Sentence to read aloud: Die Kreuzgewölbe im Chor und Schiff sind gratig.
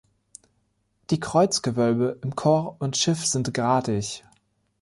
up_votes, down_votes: 1, 3